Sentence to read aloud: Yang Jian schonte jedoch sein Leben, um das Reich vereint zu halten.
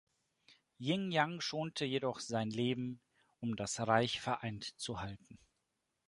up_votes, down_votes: 0, 2